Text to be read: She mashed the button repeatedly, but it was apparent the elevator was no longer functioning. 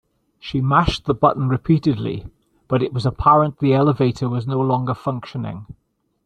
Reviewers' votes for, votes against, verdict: 2, 0, accepted